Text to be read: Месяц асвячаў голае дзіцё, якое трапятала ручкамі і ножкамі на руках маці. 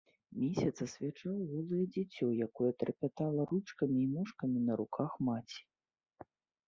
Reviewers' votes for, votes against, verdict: 2, 1, accepted